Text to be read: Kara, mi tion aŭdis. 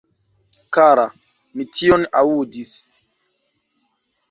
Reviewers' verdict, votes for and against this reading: rejected, 1, 2